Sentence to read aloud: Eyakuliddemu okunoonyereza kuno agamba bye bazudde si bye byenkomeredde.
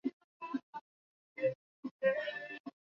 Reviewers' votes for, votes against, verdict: 0, 2, rejected